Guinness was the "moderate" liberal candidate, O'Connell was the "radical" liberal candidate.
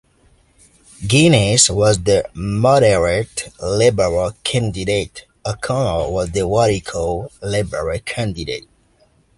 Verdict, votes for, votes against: rejected, 1, 2